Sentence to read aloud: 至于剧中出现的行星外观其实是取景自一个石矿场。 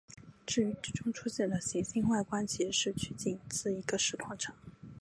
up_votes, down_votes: 0, 2